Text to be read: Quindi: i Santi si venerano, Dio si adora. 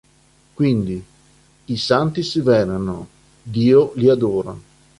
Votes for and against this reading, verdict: 0, 2, rejected